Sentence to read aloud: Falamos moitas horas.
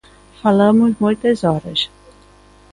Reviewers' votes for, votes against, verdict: 2, 0, accepted